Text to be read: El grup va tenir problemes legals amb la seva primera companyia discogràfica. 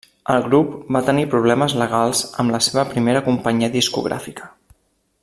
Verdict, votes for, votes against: accepted, 3, 0